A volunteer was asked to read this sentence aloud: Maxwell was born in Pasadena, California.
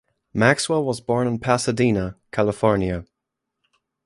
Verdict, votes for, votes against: accepted, 2, 0